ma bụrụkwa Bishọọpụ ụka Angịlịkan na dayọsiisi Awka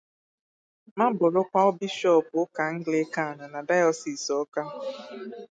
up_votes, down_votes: 0, 4